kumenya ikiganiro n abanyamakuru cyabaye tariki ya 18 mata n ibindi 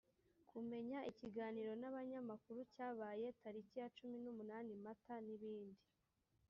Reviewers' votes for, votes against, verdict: 0, 2, rejected